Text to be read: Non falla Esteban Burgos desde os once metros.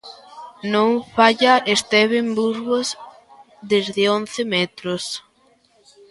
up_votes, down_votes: 0, 2